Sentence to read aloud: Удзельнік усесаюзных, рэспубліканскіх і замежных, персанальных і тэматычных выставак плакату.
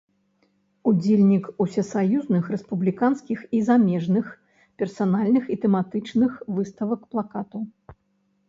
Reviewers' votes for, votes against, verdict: 2, 0, accepted